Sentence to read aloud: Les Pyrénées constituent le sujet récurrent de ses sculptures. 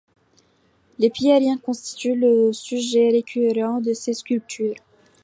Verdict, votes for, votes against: rejected, 0, 2